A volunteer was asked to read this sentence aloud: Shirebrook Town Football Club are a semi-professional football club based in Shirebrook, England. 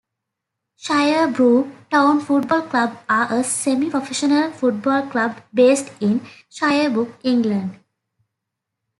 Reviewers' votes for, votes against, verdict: 2, 1, accepted